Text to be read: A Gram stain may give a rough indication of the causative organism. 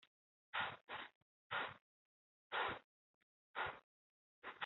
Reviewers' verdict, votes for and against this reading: rejected, 0, 2